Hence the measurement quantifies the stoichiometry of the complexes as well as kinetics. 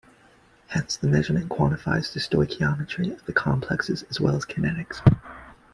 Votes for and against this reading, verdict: 2, 0, accepted